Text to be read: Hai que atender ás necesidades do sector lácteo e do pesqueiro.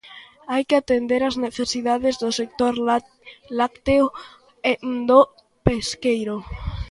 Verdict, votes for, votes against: rejected, 0, 2